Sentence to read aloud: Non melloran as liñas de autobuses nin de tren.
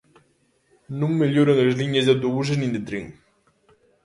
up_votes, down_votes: 2, 0